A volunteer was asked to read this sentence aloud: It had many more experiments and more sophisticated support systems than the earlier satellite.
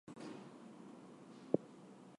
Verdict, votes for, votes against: rejected, 0, 4